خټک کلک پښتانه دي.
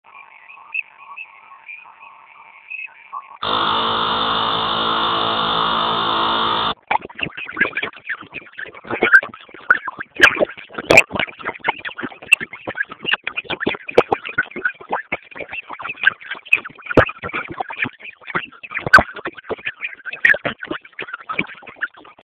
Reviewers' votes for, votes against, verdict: 0, 2, rejected